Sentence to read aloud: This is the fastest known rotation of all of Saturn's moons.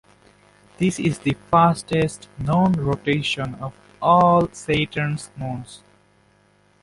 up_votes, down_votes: 2, 0